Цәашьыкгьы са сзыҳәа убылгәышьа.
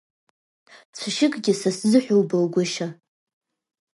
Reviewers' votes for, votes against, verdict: 1, 2, rejected